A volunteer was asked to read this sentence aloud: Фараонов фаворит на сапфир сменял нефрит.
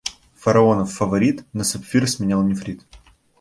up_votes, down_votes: 2, 0